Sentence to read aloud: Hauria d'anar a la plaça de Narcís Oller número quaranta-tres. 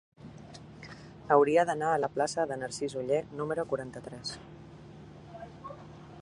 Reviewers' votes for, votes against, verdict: 0, 2, rejected